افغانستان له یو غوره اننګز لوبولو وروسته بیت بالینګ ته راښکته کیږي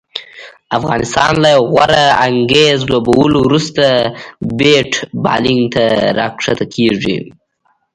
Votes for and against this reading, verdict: 1, 2, rejected